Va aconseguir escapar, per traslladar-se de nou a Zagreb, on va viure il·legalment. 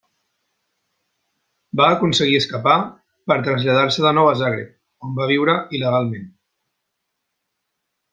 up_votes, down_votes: 4, 0